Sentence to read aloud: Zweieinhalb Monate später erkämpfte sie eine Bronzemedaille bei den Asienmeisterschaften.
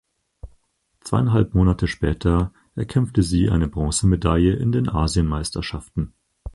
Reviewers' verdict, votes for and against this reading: rejected, 0, 4